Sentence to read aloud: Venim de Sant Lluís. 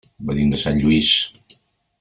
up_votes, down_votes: 3, 0